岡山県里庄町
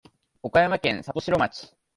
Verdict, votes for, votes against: accepted, 2, 1